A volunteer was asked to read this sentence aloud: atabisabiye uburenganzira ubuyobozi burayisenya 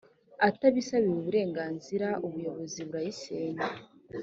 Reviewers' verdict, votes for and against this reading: accepted, 4, 0